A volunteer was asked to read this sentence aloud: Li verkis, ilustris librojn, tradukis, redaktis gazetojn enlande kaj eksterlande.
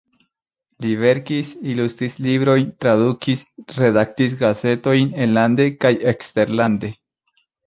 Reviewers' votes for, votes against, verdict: 1, 2, rejected